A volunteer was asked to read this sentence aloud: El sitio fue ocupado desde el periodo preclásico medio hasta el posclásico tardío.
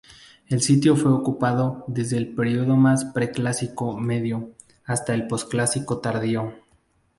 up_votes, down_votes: 0, 2